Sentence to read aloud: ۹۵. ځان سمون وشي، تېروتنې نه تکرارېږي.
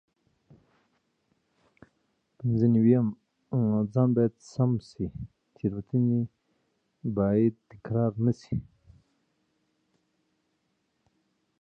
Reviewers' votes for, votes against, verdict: 0, 2, rejected